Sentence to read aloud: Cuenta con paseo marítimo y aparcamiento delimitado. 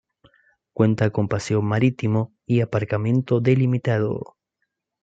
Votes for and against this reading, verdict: 2, 0, accepted